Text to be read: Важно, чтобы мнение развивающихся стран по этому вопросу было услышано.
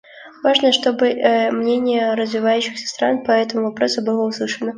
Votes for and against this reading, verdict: 0, 2, rejected